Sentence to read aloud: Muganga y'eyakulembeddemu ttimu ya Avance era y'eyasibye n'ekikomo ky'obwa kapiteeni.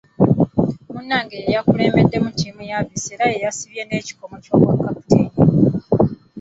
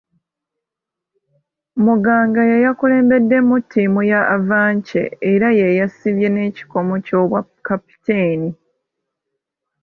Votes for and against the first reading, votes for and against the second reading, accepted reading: 0, 2, 2, 0, second